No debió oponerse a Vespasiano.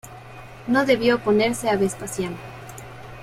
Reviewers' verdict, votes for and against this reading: accepted, 2, 0